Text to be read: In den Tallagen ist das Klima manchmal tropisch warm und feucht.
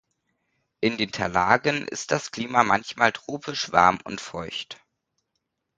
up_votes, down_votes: 1, 2